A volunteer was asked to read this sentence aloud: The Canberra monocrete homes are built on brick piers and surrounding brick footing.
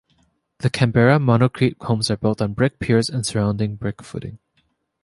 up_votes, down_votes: 2, 0